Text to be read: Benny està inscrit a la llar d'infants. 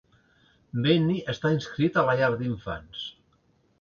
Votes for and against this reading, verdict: 3, 0, accepted